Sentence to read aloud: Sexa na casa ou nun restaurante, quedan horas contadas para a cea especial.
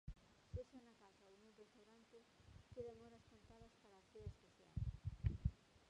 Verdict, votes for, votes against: rejected, 0, 2